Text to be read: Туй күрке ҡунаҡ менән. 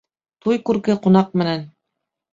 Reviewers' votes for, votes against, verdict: 2, 1, accepted